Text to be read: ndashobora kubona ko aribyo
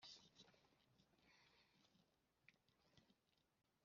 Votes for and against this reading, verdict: 0, 2, rejected